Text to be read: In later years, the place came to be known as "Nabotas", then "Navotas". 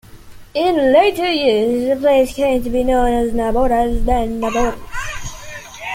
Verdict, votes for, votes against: rejected, 1, 2